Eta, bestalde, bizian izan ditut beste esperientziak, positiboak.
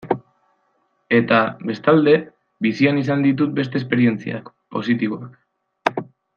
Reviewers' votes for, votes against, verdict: 2, 0, accepted